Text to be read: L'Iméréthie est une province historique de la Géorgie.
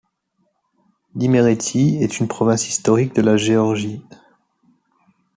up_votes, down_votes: 2, 0